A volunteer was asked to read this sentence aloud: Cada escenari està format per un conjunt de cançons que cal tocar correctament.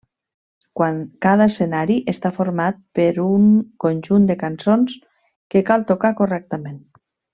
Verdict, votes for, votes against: rejected, 1, 2